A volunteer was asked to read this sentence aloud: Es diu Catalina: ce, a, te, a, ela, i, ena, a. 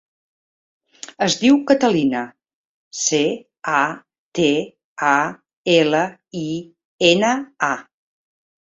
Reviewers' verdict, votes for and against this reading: accepted, 3, 0